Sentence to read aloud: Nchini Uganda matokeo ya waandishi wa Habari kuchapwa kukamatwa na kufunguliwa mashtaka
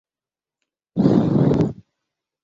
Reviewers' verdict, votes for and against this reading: rejected, 0, 2